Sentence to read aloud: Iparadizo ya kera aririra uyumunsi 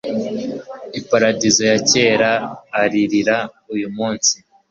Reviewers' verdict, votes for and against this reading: accepted, 2, 0